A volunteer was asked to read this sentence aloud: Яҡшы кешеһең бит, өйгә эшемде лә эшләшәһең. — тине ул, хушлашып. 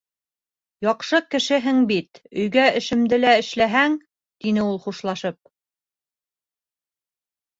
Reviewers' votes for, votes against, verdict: 1, 2, rejected